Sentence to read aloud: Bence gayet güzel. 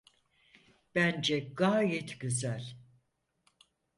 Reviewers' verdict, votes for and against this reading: accepted, 4, 0